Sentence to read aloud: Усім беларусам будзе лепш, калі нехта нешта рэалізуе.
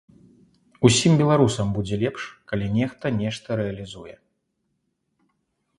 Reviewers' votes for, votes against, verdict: 2, 0, accepted